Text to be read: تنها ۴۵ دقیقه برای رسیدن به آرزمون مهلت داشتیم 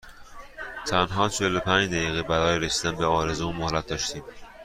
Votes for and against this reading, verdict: 0, 2, rejected